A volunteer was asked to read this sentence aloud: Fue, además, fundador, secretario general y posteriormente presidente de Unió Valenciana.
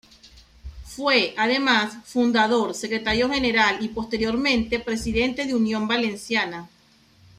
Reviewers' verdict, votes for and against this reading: rejected, 0, 2